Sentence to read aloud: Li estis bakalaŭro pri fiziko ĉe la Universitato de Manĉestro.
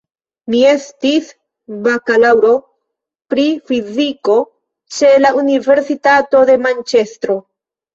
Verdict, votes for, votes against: rejected, 0, 2